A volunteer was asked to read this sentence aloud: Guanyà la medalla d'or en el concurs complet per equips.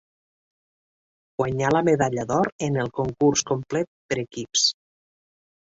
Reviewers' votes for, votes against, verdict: 3, 0, accepted